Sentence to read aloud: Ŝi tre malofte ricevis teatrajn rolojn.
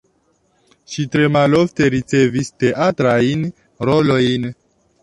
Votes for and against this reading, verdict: 2, 1, accepted